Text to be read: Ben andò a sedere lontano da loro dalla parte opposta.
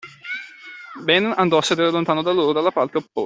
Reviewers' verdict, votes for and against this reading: rejected, 1, 2